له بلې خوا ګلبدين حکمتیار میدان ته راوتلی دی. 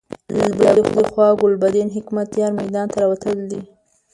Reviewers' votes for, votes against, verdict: 0, 2, rejected